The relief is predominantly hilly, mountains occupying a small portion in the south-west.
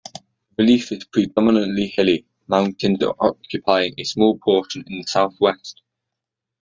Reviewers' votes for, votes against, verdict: 2, 0, accepted